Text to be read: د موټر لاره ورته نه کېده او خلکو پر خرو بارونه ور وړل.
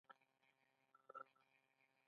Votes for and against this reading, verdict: 1, 2, rejected